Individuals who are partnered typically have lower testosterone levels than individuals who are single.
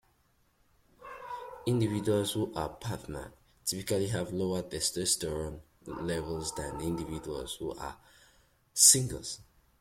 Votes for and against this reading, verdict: 0, 2, rejected